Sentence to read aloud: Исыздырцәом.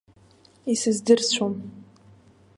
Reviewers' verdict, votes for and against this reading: accepted, 2, 1